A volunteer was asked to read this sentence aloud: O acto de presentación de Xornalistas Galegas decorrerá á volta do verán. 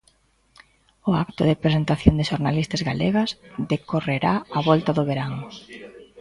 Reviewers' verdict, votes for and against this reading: rejected, 1, 2